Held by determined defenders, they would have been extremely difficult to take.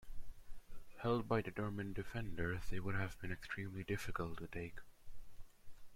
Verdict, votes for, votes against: accepted, 3, 0